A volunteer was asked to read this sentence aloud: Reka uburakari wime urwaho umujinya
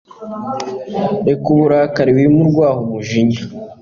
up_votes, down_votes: 3, 0